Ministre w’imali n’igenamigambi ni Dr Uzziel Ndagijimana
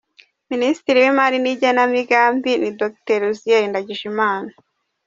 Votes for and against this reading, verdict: 2, 0, accepted